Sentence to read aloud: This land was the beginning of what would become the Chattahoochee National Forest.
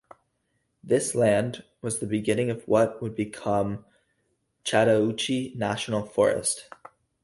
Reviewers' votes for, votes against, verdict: 0, 2, rejected